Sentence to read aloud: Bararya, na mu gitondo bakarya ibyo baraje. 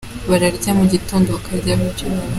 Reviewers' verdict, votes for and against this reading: rejected, 0, 2